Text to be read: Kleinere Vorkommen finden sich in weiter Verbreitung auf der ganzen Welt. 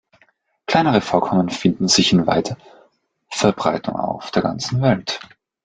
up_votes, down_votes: 1, 2